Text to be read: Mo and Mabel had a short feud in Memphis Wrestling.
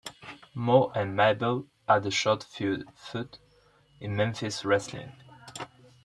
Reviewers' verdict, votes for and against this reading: rejected, 0, 2